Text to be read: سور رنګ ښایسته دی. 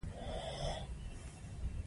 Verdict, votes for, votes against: accepted, 2, 0